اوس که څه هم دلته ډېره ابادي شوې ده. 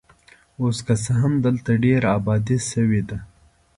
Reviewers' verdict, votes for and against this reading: accepted, 2, 0